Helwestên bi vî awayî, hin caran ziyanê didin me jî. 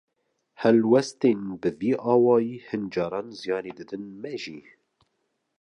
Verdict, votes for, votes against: accepted, 2, 0